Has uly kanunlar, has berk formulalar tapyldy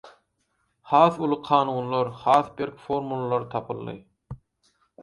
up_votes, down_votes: 4, 0